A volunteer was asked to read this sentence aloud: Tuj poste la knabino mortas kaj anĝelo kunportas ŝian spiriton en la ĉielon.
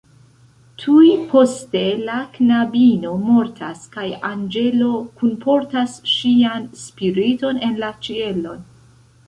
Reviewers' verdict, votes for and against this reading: accepted, 2, 1